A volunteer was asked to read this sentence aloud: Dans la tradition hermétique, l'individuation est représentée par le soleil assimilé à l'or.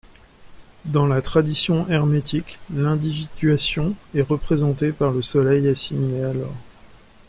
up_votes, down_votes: 2, 0